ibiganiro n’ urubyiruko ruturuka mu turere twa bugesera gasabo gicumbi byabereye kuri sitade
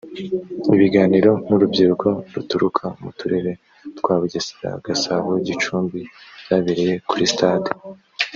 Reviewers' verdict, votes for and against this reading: rejected, 1, 2